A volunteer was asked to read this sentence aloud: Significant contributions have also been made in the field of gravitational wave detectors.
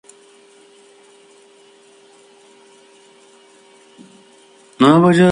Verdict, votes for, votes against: rejected, 0, 2